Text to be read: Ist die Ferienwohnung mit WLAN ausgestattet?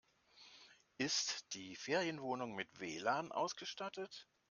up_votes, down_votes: 2, 0